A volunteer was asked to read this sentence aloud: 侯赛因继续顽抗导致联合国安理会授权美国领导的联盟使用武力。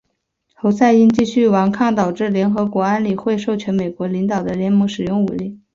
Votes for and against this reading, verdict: 3, 0, accepted